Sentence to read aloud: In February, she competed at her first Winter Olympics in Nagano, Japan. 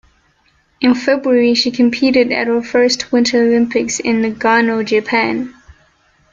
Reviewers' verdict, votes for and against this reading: accepted, 2, 0